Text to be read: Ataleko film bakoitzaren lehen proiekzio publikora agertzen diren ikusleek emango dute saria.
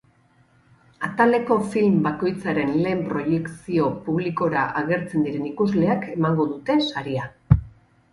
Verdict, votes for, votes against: accepted, 4, 2